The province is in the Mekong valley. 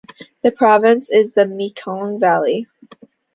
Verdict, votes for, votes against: rejected, 0, 2